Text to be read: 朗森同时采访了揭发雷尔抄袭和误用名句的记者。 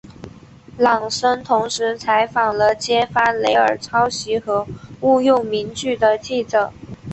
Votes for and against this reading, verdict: 2, 0, accepted